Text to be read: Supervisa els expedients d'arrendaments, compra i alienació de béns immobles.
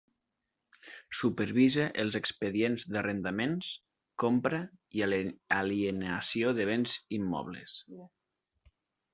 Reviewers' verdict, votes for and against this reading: rejected, 0, 2